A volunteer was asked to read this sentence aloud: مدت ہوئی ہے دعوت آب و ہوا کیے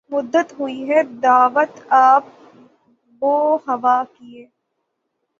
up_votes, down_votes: 0, 9